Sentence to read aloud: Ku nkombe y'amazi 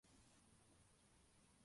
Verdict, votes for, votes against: rejected, 0, 2